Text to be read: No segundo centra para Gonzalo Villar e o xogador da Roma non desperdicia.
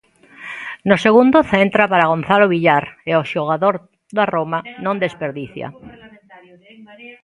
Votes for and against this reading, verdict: 0, 2, rejected